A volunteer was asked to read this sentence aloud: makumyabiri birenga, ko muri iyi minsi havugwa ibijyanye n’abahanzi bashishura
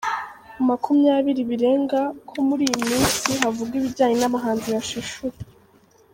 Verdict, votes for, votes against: rejected, 0, 2